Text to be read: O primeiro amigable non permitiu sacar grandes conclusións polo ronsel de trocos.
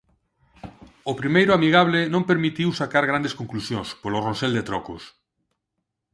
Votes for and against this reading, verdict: 4, 0, accepted